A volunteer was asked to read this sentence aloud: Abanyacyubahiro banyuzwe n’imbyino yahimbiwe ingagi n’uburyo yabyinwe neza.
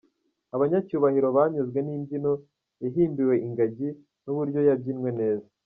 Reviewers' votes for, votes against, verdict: 2, 0, accepted